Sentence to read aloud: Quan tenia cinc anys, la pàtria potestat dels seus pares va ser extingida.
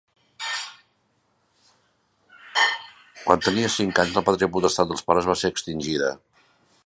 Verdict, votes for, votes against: rejected, 1, 2